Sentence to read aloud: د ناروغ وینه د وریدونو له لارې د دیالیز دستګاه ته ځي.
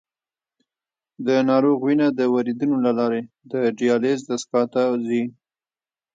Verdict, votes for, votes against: rejected, 1, 3